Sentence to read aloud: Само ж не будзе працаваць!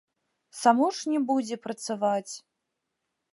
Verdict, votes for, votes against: rejected, 1, 3